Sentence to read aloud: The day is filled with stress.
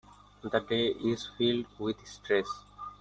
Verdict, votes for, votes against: accepted, 2, 0